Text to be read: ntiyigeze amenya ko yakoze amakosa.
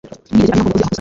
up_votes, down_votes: 0, 2